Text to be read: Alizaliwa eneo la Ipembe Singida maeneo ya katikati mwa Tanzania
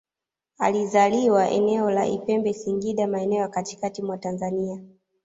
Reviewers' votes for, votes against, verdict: 2, 0, accepted